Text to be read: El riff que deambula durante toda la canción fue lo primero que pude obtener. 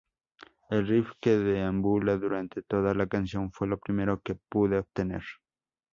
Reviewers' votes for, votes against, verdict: 2, 0, accepted